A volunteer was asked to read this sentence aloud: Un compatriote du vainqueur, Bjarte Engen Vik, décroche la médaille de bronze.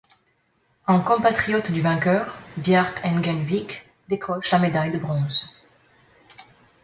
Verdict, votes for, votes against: accepted, 2, 1